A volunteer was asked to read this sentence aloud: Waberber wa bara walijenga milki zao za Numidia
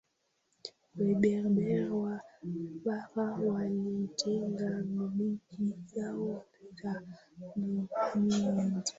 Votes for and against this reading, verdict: 0, 2, rejected